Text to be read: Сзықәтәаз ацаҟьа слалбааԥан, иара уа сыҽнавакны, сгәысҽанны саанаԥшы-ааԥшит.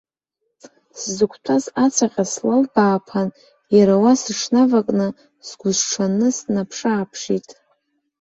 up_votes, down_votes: 2, 0